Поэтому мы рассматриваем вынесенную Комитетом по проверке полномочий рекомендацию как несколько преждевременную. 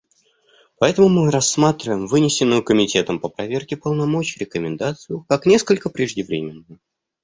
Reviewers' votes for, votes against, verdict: 2, 0, accepted